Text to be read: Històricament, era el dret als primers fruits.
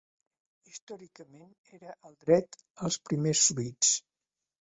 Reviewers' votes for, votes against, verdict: 1, 3, rejected